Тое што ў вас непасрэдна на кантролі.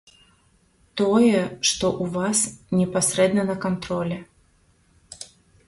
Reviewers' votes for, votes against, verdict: 1, 2, rejected